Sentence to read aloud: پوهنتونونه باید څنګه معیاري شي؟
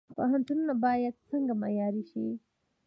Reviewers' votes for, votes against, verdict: 1, 2, rejected